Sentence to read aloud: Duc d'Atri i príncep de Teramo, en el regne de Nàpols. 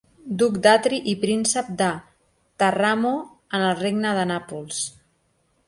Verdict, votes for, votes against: rejected, 1, 2